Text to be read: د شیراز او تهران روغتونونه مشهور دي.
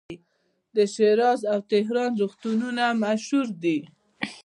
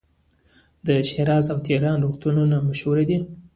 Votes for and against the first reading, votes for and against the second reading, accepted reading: 2, 0, 0, 2, first